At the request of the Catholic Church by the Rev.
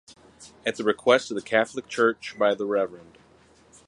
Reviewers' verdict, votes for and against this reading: rejected, 2, 4